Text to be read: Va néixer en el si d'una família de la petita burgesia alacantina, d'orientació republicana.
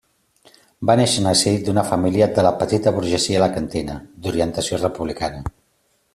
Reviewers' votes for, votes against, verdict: 2, 0, accepted